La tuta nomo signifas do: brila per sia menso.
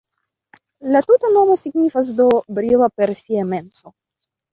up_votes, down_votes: 0, 2